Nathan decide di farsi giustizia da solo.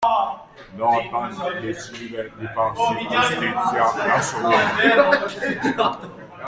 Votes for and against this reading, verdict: 0, 2, rejected